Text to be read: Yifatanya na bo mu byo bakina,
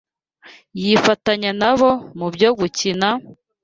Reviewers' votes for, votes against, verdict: 1, 2, rejected